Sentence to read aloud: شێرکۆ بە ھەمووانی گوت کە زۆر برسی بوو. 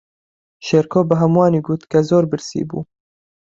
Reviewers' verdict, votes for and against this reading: accepted, 9, 0